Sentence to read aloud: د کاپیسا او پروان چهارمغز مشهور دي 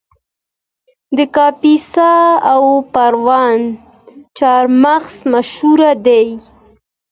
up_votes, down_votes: 2, 0